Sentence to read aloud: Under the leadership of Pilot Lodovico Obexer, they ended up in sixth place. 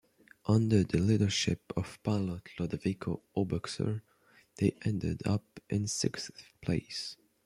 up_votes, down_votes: 1, 2